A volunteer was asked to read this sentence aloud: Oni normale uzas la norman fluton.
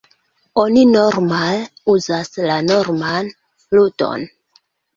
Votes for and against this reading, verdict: 0, 2, rejected